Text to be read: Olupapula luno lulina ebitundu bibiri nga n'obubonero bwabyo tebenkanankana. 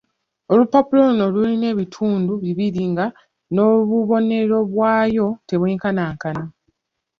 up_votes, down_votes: 0, 2